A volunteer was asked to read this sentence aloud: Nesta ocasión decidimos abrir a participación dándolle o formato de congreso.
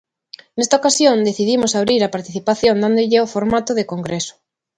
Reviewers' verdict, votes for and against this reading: accepted, 2, 0